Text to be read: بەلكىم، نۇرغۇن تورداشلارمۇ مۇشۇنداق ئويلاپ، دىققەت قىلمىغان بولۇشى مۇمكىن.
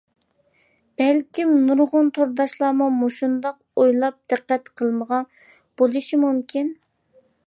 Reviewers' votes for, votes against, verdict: 2, 0, accepted